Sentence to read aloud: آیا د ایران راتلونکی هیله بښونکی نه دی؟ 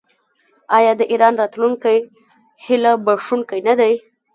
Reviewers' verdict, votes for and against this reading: rejected, 0, 2